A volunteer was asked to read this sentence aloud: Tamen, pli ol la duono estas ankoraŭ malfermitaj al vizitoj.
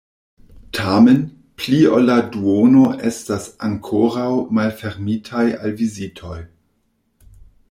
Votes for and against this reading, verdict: 2, 0, accepted